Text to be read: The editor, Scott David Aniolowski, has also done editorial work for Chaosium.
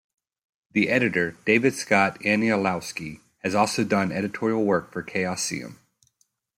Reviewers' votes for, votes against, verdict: 1, 2, rejected